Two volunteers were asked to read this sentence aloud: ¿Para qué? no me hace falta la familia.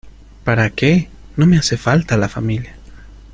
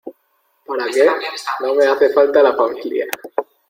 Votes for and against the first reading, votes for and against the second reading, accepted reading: 2, 0, 0, 3, first